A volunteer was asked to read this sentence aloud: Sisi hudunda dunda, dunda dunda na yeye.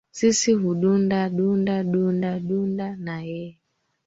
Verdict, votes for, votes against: accepted, 2, 0